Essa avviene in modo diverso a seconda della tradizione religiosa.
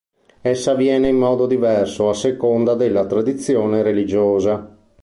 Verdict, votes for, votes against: accepted, 3, 0